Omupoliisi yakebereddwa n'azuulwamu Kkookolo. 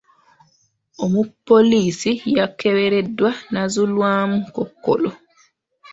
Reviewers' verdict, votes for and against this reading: rejected, 0, 2